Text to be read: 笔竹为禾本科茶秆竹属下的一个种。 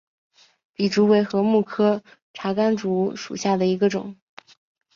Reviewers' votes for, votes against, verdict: 6, 0, accepted